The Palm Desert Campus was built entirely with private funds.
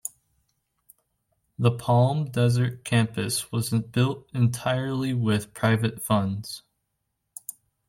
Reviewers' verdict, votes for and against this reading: rejected, 0, 2